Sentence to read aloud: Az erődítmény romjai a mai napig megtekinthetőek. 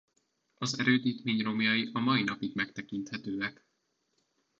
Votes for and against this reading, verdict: 2, 0, accepted